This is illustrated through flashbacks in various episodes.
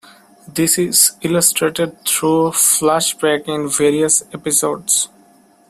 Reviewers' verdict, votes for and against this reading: rejected, 1, 2